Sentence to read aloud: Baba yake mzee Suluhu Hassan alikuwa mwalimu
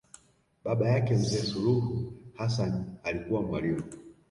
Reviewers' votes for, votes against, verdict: 2, 0, accepted